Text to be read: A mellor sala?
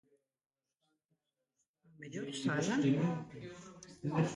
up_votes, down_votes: 0, 2